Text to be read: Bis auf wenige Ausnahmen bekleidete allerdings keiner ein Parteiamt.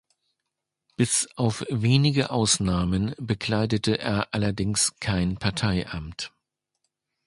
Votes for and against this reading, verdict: 0, 2, rejected